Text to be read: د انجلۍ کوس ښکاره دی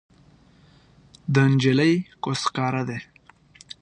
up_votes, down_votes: 2, 0